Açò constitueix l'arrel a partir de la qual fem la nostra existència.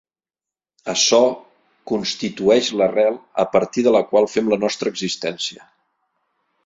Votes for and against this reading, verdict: 3, 0, accepted